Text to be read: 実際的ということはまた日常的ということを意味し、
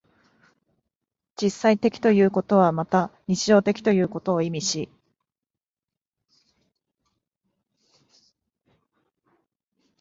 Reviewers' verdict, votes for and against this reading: accepted, 5, 1